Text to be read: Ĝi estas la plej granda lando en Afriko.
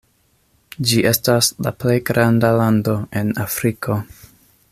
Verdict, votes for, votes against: accepted, 2, 0